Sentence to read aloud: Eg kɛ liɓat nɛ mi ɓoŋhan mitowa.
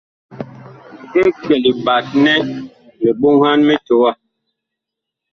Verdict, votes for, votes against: accepted, 2, 0